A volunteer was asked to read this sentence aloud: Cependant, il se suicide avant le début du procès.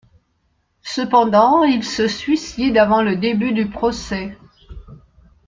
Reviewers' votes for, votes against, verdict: 2, 0, accepted